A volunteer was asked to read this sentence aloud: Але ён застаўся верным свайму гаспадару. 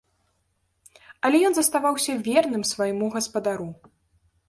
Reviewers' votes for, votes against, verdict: 0, 2, rejected